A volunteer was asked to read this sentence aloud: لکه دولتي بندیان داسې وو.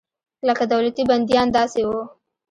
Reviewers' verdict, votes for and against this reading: accepted, 2, 0